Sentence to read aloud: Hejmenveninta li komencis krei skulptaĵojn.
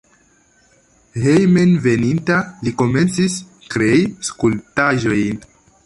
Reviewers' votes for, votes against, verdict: 2, 0, accepted